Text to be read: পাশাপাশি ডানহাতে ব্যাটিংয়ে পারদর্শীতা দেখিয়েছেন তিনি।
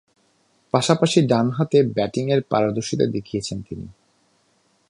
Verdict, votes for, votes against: rejected, 0, 2